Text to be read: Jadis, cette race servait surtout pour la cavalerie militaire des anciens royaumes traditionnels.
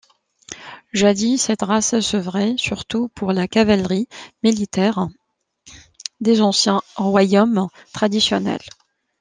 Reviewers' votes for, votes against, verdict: 0, 2, rejected